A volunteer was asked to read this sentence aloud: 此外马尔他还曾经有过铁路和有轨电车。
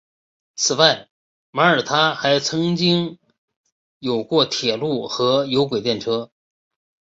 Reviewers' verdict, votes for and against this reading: accepted, 2, 0